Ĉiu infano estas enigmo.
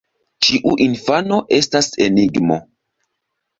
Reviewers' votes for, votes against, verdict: 1, 2, rejected